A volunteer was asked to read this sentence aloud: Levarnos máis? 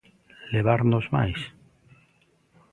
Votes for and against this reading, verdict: 2, 0, accepted